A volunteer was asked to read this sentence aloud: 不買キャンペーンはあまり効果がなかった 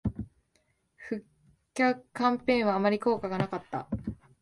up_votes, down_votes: 0, 2